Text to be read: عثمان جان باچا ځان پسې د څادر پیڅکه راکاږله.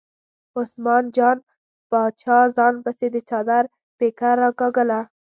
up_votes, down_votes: 1, 2